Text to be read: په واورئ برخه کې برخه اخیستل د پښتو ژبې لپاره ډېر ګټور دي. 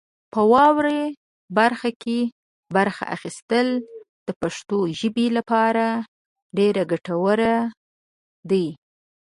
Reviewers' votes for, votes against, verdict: 0, 2, rejected